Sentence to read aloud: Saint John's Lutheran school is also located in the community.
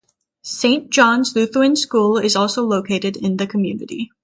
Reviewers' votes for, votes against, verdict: 9, 0, accepted